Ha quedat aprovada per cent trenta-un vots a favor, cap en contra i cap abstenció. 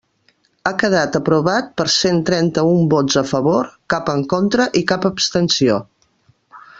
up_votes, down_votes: 0, 2